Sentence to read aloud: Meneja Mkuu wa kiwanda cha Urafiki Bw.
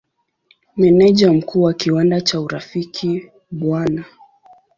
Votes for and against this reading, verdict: 7, 1, accepted